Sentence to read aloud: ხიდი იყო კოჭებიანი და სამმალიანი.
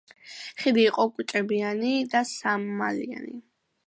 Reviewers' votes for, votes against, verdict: 2, 0, accepted